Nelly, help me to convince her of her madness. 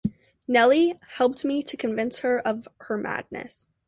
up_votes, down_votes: 0, 2